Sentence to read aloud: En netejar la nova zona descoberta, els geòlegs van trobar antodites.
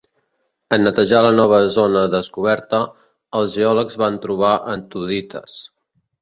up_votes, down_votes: 2, 0